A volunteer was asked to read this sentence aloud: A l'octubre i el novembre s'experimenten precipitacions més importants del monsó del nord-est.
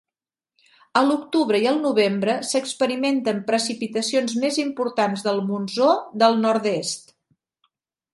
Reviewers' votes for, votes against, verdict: 0, 2, rejected